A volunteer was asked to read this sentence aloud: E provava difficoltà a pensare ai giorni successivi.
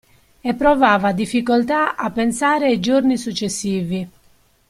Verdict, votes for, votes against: accepted, 2, 0